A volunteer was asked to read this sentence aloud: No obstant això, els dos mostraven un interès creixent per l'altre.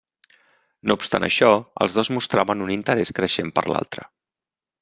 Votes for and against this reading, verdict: 3, 0, accepted